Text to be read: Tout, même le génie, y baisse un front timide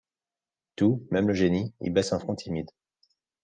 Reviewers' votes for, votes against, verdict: 2, 0, accepted